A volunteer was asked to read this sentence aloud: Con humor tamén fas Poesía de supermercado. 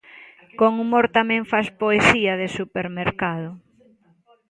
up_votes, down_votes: 2, 0